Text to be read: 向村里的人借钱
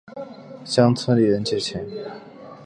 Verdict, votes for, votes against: accepted, 3, 0